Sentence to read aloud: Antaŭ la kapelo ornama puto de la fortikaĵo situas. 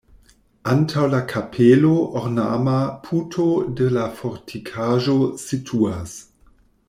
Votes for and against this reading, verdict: 2, 0, accepted